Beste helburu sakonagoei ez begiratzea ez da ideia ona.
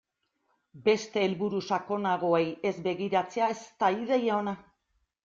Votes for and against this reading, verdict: 2, 0, accepted